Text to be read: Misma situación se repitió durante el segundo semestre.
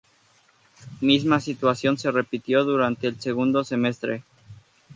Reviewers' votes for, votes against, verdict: 2, 0, accepted